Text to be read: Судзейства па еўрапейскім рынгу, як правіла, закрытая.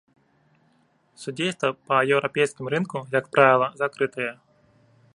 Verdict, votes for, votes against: accepted, 3, 1